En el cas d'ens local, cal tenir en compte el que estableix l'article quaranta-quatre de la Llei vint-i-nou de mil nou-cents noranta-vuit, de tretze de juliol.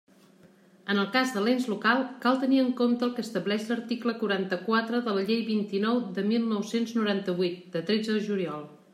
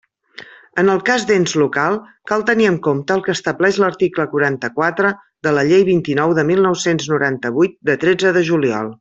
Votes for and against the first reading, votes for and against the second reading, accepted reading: 0, 2, 3, 0, second